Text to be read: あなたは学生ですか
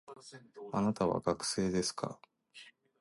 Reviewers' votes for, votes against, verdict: 1, 2, rejected